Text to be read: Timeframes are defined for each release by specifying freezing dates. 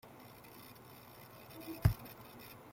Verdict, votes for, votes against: rejected, 0, 2